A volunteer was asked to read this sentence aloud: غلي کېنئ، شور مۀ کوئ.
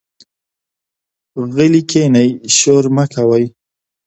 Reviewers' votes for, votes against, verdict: 2, 0, accepted